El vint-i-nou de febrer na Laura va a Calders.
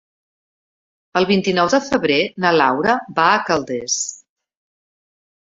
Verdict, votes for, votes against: accepted, 4, 0